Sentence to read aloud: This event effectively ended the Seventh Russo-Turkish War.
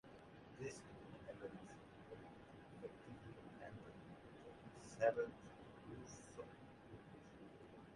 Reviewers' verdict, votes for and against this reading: rejected, 0, 2